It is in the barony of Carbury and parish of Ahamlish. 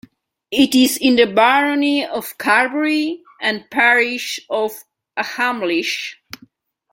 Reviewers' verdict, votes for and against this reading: rejected, 1, 2